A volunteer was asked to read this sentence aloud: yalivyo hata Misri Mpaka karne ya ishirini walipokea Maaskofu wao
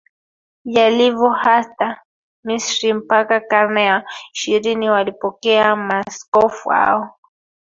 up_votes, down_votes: 1, 2